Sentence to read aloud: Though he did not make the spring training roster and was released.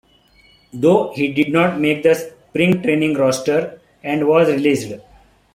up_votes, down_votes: 1, 2